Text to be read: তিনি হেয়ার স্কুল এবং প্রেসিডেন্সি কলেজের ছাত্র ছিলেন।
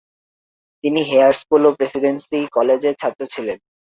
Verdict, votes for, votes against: rejected, 1, 2